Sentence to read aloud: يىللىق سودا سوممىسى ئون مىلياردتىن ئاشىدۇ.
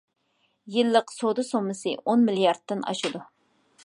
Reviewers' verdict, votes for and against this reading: accepted, 2, 0